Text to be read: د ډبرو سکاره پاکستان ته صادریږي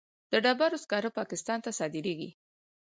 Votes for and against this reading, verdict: 4, 0, accepted